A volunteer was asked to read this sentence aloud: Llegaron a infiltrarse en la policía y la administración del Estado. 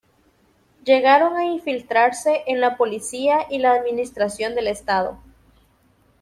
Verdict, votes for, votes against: accepted, 2, 0